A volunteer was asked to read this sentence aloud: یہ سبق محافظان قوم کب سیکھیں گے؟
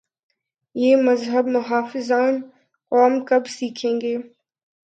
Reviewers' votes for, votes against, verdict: 7, 5, accepted